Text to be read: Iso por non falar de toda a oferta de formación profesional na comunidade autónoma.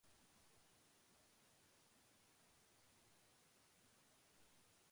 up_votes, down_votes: 0, 2